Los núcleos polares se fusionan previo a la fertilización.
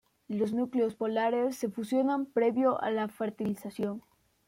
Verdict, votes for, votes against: accepted, 2, 0